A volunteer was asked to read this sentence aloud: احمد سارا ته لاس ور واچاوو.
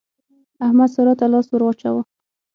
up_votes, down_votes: 6, 0